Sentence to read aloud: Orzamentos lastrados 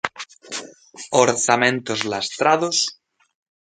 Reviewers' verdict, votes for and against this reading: accepted, 2, 0